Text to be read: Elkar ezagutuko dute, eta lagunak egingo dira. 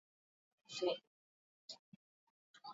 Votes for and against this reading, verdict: 2, 2, rejected